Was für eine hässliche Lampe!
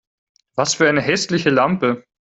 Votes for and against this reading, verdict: 4, 0, accepted